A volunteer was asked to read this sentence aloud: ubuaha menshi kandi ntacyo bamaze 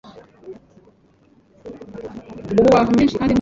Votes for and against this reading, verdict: 0, 2, rejected